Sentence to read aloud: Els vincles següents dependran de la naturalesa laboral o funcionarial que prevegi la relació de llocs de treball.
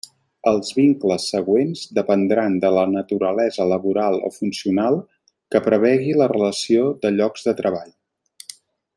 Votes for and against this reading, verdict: 1, 2, rejected